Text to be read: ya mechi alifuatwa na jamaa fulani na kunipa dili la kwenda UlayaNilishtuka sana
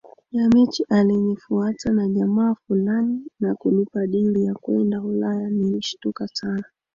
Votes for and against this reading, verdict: 2, 1, accepted